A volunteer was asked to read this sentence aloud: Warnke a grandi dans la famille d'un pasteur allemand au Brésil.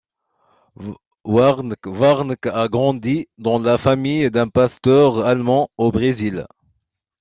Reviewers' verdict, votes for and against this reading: rejected, 0, 2